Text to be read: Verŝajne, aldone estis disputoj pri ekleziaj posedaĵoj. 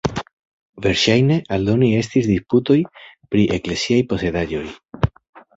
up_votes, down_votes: 2, 0